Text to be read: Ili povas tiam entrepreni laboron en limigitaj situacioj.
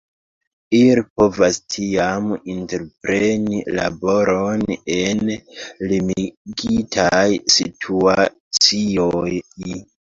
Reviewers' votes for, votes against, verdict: 1, 2, rejected